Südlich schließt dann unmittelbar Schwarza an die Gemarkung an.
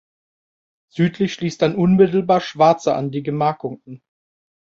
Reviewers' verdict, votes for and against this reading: rejected, 0, 2